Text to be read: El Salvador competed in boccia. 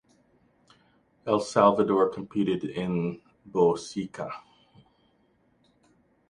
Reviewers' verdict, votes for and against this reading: rejected, 1, 2